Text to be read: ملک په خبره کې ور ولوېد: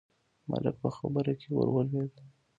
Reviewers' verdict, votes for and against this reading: rejected, 0, 2